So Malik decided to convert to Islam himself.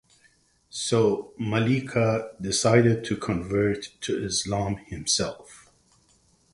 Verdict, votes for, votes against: rejected, 0, 4